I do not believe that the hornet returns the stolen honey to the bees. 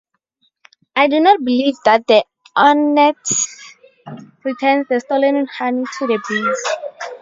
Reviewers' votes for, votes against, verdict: 0, 4, rejected